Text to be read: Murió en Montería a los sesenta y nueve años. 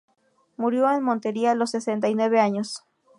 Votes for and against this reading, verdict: 0, 2, rejected